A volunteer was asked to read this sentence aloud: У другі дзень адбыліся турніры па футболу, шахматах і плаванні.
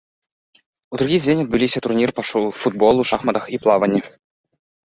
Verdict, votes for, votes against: rejected, 0, 3